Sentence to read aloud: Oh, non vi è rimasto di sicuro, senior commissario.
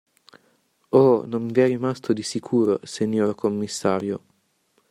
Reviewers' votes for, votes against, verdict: 2, 0, accepted